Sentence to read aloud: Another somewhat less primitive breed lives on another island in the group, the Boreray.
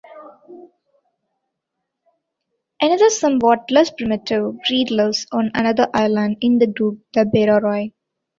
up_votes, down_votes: 2, 1